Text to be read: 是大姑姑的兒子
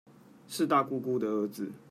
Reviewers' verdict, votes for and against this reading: rejected, 0, 2